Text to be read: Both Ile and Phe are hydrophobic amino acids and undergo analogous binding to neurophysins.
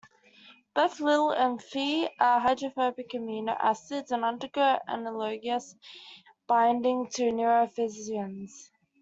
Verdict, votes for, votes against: accepted, 2, 0